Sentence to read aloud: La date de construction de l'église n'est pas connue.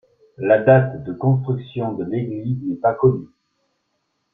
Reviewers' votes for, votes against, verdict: 2, 0, accepted